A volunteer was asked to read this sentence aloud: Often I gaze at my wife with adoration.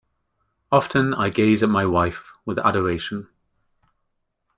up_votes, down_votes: 2, 0